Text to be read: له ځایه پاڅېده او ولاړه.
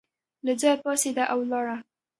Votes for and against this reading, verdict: 2, 0, accepted